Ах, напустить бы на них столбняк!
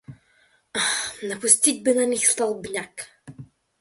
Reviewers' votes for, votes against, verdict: 1, 2, rejected